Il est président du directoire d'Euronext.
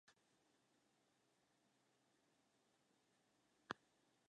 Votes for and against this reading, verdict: 0, 2, rejected